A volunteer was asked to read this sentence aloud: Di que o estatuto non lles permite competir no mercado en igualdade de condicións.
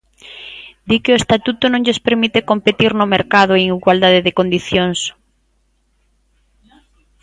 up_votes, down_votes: 2, 0